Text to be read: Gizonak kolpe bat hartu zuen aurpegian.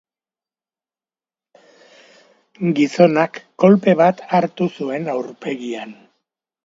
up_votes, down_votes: 2, 0